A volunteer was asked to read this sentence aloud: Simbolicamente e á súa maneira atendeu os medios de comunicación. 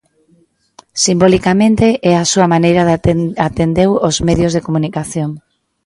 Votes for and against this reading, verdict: 0, 2, rejected